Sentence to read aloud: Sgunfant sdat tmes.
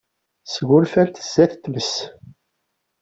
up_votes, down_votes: 2, 0